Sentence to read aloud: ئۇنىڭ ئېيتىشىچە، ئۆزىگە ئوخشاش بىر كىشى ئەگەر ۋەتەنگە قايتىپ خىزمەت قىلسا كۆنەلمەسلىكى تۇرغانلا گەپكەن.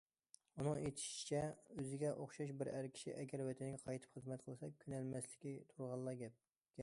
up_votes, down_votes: 0, 2